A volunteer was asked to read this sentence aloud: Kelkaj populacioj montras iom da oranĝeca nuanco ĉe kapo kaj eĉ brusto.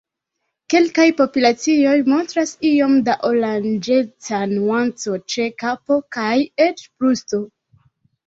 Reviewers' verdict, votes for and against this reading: accepted, 2, 0